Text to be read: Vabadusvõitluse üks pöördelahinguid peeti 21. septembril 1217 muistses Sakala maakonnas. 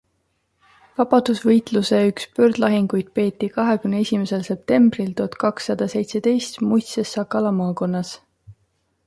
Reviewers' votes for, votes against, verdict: 0, 2, rejected